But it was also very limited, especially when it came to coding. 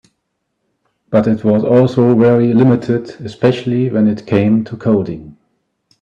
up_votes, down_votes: 3, 0